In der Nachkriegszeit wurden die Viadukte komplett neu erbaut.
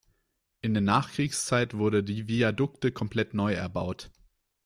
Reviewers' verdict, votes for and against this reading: rejected, 0, 2